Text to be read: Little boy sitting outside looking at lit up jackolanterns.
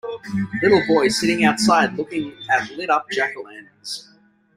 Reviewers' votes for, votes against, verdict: 3, 1, accepted